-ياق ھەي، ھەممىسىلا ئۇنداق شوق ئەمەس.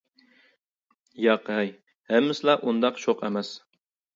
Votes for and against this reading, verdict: 2, 0, accepted